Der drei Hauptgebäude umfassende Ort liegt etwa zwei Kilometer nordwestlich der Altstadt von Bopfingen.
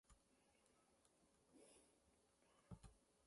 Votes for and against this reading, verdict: 0, 2, rejected